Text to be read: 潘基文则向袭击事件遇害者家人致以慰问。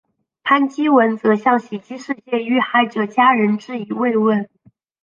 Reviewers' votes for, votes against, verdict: 2, 1, accepted